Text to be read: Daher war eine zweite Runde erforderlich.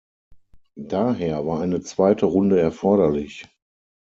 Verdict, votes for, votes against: accepted, 6, 0